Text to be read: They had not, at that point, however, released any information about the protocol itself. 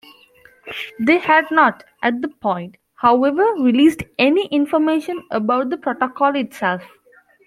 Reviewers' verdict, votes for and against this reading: rejected, 0, 2